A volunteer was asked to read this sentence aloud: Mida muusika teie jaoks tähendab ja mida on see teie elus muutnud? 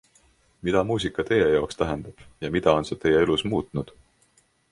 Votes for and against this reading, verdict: 3, 0, accepted